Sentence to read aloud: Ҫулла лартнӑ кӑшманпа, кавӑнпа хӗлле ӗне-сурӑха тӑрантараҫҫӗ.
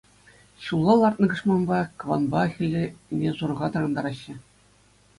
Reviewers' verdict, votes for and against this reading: accepted, 2, 0